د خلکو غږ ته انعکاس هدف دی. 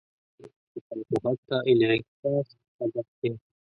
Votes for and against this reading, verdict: 1, 2, rejected